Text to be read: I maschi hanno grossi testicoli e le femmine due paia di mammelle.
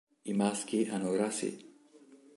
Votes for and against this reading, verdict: 0, 2, rejected